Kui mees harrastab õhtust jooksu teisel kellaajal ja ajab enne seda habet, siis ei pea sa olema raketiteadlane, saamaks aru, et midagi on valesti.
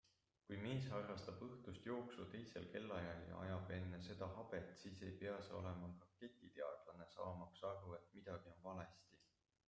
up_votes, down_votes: 1, 2